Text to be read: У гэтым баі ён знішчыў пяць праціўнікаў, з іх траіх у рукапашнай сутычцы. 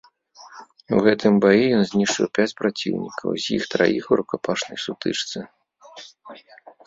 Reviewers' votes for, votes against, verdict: 2, 0, accepted